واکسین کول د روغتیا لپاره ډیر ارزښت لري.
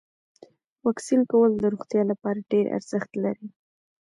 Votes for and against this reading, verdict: 1, 2, rejected